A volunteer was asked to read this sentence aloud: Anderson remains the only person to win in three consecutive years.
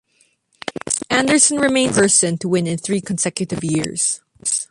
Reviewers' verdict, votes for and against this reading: rejected, 1, 3